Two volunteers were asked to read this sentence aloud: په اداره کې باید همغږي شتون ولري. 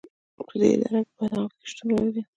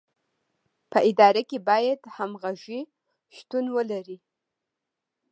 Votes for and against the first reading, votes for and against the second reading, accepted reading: 0, 2, 2, 0, second